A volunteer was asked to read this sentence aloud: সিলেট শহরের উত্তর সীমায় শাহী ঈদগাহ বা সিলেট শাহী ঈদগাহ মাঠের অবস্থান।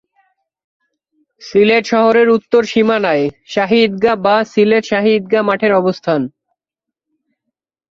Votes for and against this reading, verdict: 0, 2, rejected